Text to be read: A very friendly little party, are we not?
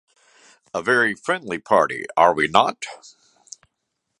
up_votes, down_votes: 0, 2